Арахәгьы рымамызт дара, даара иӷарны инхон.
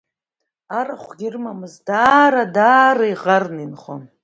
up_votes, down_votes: 1, 2